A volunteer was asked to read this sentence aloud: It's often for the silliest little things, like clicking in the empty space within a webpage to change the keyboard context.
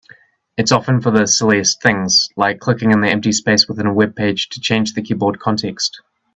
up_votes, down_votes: 0, 2